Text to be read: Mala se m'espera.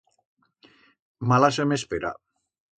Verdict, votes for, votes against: accepted, 2, 0